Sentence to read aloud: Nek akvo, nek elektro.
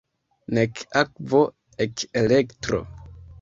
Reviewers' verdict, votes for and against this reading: rejected, 0, 2